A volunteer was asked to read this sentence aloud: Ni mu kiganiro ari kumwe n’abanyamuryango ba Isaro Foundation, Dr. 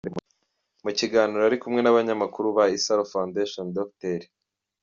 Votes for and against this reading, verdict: 0, 2, rejected